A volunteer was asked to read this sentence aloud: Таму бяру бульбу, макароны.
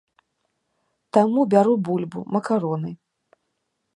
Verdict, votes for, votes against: accepted, 2, 0